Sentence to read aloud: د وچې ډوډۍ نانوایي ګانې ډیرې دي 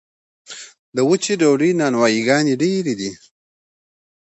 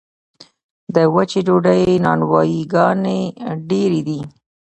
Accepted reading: first